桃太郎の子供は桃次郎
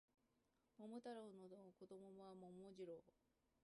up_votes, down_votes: 1, 2